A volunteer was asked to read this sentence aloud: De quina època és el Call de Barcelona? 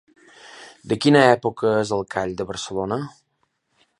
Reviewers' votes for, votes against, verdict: 3, 0, accepted